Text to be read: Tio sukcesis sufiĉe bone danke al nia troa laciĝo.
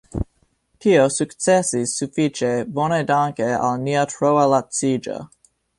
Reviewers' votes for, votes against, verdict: 3, 1, accepted